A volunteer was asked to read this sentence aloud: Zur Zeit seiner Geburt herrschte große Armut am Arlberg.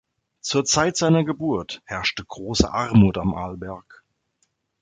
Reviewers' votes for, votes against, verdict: 2, 0, accepted